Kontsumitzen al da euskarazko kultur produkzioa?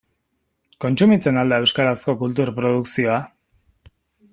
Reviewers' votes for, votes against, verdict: 2, 0, accepted